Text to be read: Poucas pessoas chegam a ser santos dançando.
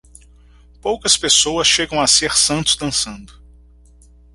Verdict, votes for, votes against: accepted, 4, 0